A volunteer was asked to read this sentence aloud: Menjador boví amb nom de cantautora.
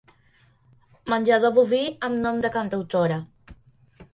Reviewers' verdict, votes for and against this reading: accepted, 3, 0